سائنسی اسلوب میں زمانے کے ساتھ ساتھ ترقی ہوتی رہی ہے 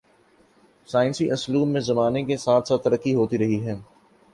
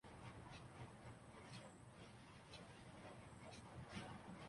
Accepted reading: first